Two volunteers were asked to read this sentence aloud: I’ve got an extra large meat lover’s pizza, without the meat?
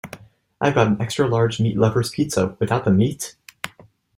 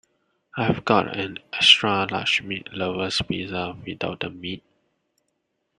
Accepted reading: first